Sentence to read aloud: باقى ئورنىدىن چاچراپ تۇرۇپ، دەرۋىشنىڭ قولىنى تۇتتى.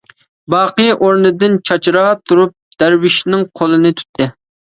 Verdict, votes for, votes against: accepted, 2, 0